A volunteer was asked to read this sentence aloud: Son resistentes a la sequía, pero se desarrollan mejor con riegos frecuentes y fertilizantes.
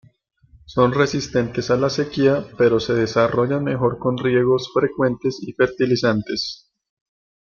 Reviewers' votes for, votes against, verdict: 0, 2, rejected